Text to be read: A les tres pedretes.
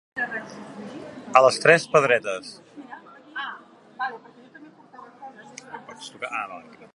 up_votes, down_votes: 1, 2